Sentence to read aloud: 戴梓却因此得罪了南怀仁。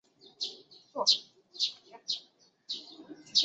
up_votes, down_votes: 0, 3